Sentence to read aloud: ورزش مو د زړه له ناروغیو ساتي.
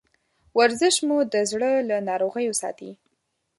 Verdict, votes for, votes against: accepted, 2, 0